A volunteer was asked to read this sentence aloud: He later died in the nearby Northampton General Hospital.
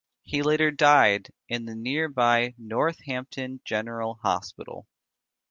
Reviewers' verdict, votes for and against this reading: accepted, 2, 0